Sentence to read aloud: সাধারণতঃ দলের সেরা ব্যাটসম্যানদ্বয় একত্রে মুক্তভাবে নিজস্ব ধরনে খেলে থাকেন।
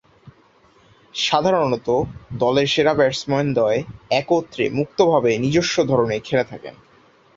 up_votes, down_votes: 4, 0